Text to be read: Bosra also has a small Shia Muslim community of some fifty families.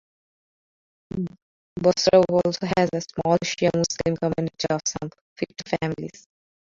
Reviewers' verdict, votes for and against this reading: rejected, 1, 2